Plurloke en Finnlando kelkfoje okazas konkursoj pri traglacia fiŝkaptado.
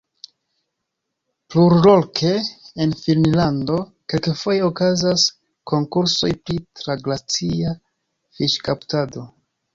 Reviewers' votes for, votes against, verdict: 2, 0, accepted